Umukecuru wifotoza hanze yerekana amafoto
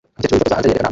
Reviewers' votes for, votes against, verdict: 0, 2, rejected